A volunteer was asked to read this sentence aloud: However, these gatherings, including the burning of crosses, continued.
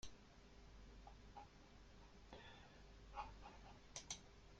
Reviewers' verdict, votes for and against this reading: rejected, 1, 2